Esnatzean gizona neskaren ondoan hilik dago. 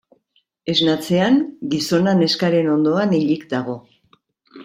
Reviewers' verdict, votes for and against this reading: accepted, 2, 0